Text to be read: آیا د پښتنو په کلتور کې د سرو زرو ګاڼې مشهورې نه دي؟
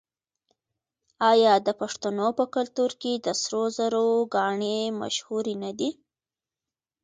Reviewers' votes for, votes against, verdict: 2, 0, accepted